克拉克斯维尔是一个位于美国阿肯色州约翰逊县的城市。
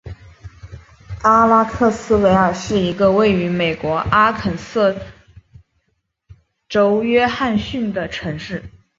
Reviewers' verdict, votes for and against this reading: rejected, 1, 3